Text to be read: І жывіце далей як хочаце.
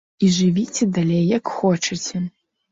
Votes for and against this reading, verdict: 2, 0, accepted